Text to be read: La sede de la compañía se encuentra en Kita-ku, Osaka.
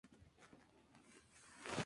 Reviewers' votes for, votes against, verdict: 0, 2, rejected